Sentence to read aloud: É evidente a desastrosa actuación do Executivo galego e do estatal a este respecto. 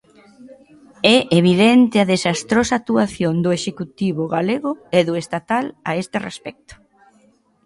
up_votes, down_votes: 2, 0